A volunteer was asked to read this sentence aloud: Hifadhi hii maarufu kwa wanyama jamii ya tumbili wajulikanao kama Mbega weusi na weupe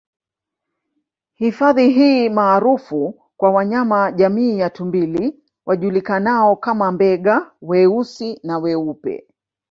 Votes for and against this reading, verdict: 2, 0, accepted